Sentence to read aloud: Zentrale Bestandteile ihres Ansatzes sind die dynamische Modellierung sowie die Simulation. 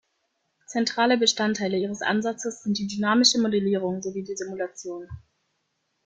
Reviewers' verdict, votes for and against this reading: accepted, 2, 0